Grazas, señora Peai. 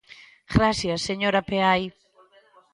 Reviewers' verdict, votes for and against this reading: rejected, 0, 2